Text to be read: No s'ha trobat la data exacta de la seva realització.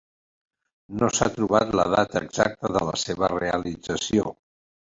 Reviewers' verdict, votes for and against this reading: accepted, 2, 0